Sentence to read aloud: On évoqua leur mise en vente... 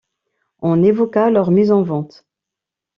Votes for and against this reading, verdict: 2, 0, accepted